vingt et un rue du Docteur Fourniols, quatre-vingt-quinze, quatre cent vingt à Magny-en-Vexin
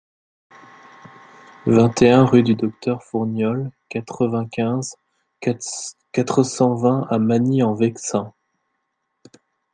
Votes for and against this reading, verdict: 1, 2, rejected